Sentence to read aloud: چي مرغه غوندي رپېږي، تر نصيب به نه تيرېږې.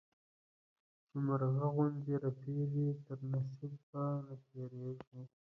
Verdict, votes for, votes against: rejected, 1, 2